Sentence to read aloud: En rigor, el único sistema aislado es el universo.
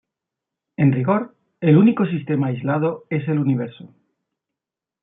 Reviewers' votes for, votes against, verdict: 2, 0, accepted